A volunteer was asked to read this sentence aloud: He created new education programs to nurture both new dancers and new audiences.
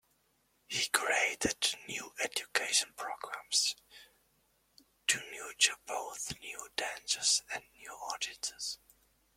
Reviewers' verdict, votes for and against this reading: rejected, 0, 2